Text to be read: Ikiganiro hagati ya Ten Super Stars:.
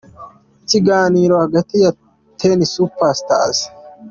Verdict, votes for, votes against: accepted, 2, 0